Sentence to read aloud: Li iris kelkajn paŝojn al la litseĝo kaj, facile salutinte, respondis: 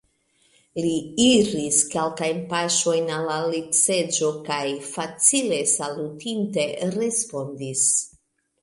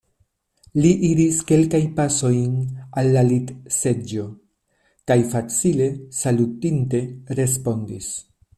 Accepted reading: first